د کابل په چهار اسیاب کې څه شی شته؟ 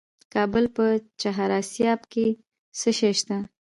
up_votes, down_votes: 1, 2